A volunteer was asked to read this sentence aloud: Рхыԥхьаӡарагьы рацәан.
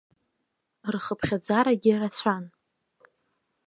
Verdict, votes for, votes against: accepted, 2, 0